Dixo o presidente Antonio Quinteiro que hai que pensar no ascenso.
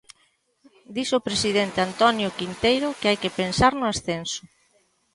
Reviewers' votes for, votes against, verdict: 2, 0, accepted